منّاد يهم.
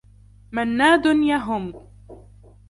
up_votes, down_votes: 0, 2